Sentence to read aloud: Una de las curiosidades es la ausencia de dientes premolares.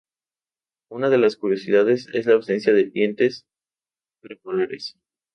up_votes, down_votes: 0, 2